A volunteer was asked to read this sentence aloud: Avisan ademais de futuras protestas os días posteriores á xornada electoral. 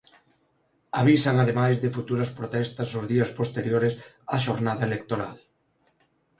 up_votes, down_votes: 2, 0